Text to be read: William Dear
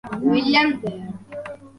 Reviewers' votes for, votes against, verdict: 1, 2, rejected